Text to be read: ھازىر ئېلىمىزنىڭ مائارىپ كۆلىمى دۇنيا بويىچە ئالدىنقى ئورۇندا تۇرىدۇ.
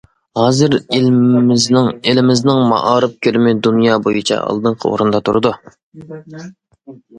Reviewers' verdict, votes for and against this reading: rejected, 0, 2